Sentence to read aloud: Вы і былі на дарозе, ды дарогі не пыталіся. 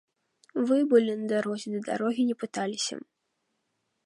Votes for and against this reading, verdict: 2, 3, rejected